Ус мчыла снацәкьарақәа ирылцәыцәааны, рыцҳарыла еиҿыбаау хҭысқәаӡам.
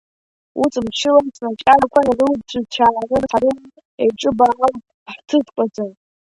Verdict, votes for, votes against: rejected, 0, 2